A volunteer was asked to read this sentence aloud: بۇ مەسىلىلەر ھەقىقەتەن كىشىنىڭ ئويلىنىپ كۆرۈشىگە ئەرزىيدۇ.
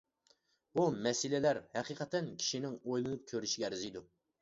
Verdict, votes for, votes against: accepted, 2, 0